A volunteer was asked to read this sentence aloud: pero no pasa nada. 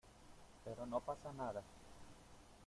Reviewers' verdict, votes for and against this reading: rejected, 1, 2